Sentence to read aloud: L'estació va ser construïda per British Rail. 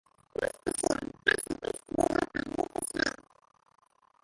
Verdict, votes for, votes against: rejected, 0, 2